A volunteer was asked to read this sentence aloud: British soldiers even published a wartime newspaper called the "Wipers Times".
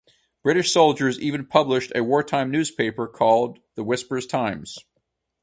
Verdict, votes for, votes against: rejected, 0, 2